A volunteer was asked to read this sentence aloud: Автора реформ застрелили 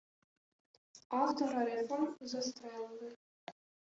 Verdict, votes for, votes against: accepted, 2, 1